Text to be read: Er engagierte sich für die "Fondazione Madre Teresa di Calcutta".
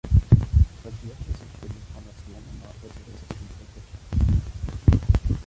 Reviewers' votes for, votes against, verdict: 0, 3, rejected